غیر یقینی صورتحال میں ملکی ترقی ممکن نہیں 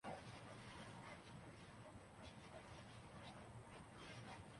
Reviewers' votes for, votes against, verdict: 0, 4, rejected